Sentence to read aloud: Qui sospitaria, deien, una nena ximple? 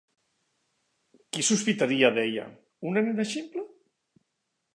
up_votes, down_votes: 1, 3